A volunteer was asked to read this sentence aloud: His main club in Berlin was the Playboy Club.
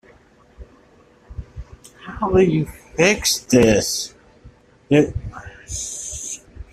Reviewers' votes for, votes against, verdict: 0, 2, rejected